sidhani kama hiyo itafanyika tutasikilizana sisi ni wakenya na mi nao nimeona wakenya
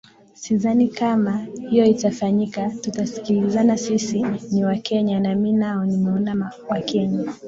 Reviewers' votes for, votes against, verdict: 0, 2, rejected